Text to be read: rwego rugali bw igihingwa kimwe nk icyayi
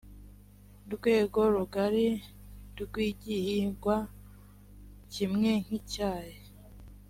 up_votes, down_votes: 0, 2